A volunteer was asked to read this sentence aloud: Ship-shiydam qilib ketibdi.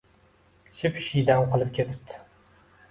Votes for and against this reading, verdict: 2, 0, accepted